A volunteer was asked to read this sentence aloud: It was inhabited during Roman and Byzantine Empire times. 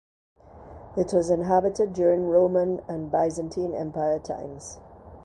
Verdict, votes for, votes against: accepted, 2, 0